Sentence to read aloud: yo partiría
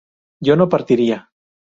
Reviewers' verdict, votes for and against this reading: rejected, 0, 2